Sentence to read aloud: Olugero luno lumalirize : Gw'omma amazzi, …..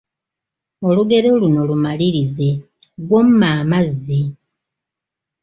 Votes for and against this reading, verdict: 2, 0, accepted